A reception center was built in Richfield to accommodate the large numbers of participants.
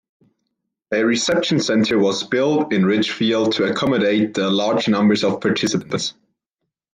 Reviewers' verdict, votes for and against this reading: rejected, 0, 2